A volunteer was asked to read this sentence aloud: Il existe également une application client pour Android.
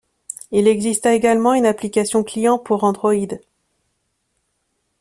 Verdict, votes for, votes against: rejected, 1, 2